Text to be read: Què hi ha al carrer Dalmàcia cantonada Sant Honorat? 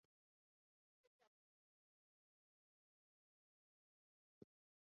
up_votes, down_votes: 0, 2